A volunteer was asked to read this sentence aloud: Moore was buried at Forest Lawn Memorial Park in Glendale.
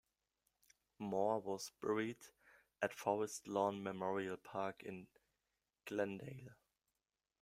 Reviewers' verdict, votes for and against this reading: accepted, 2, 1